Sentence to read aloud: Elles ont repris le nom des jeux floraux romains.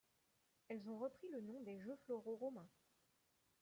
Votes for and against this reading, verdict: 2, 1, accepted